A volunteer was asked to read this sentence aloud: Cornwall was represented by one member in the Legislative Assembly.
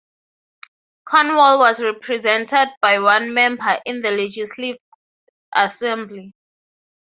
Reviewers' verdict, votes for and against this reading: rejected, 0, 6